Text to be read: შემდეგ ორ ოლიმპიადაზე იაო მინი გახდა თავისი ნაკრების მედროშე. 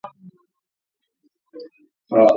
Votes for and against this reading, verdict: 0, 2, rejected